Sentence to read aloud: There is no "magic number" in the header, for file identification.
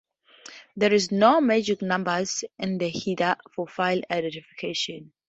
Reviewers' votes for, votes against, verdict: 0, 2, rejected